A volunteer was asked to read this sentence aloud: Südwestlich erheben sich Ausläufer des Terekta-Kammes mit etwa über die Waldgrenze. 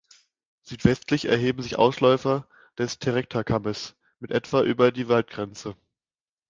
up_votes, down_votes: 2, 0